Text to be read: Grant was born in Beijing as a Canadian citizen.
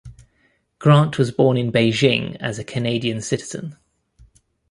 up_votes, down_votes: 2, 0